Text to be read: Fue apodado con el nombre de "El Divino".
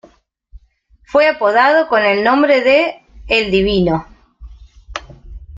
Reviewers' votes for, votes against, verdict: 2, 0, accepted